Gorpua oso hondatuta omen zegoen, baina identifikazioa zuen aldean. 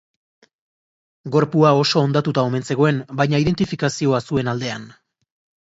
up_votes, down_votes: 2, 0